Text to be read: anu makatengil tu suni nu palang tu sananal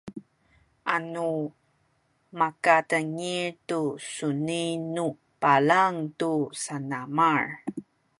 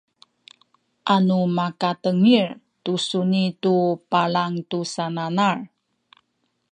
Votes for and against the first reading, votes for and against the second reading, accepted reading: 1, 2, 2, 0, second